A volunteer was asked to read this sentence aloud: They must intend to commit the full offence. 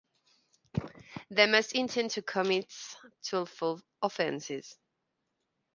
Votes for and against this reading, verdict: 0, 2, rejected